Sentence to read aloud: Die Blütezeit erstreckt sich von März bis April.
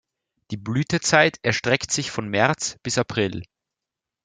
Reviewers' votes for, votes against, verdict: 2, 0, accepted